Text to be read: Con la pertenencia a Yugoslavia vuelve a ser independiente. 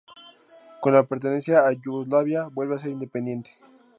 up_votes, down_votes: 2, 0